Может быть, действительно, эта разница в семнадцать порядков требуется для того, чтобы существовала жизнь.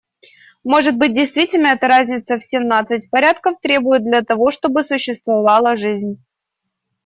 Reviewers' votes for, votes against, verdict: 0, 2, rejected